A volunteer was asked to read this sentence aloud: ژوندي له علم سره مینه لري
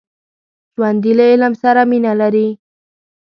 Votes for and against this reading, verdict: 2, 0, accepted